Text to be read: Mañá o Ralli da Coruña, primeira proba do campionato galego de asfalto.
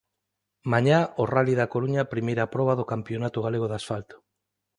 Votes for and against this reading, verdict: 2, 0, accepted